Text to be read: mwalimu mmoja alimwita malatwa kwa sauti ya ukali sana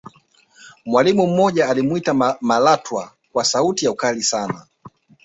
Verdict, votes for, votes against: accepted, 2, 0